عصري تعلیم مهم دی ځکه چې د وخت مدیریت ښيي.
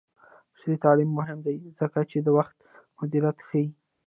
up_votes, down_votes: 2, 0